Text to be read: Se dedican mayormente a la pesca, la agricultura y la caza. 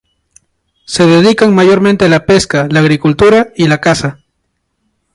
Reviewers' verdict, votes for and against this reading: accepted, 4, 0